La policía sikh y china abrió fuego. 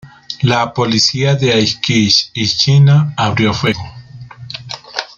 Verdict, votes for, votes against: rejected, 0, 2